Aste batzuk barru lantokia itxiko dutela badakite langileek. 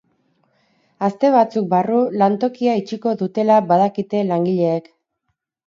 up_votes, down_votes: 4, 0